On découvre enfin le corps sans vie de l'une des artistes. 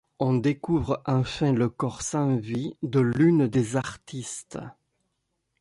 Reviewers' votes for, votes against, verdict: 2, 0, accepted